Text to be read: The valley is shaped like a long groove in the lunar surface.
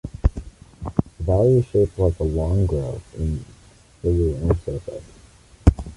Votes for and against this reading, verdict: 1, 2, rejected